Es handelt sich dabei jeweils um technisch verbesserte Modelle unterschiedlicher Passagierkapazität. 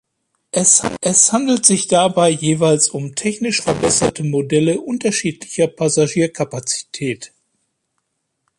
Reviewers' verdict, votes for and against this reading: rejected, 0, 2